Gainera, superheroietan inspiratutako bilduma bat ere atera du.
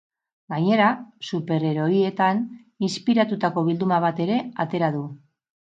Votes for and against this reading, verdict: 4, 0, accepted